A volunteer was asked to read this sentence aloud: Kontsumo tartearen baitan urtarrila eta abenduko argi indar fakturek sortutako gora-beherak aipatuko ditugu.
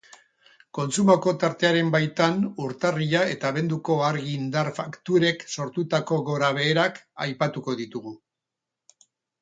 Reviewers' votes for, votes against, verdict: 0, 2, rejected